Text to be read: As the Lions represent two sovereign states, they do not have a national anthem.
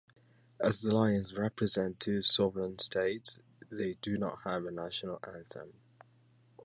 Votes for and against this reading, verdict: 2, 0, accepted